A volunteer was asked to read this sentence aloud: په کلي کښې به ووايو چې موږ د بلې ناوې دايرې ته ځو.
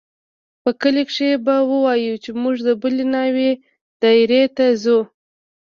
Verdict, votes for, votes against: accepted, 2, 0